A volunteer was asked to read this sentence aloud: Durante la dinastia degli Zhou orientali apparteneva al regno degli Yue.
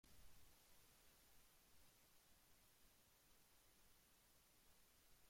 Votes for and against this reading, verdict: 0, 2, rejected